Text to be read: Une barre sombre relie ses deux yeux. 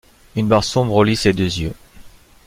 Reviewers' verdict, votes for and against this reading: accepted, 2, 1